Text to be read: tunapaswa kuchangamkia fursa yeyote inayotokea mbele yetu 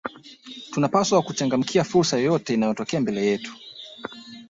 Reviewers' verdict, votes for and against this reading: rejected, 1, 2